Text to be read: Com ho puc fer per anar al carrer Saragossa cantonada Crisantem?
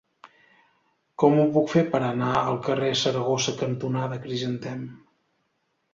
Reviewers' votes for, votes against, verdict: 3, 0, accepted